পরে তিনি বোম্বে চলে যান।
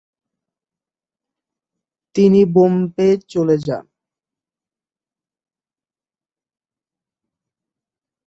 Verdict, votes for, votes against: rejected, 0, 3